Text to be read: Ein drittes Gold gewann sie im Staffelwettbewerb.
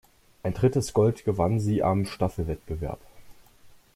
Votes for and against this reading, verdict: 0, 2, rejected